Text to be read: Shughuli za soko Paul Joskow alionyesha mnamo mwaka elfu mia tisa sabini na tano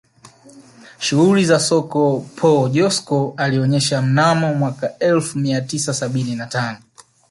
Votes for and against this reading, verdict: 2, 0, accepted